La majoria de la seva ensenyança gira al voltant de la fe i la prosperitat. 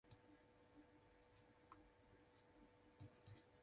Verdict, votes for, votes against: rejected, 0, 2